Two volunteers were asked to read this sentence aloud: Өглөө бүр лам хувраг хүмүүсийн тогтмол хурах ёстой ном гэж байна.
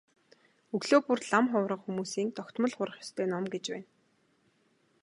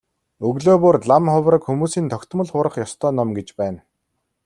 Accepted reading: second